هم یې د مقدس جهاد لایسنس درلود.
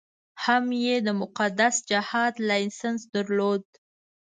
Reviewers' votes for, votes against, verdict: 2, 0, accepted